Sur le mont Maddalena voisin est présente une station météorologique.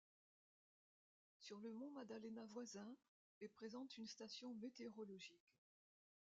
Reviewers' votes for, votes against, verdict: 0, 2, rejected